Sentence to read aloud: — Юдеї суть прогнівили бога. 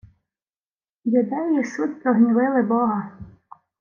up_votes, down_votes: 2, 0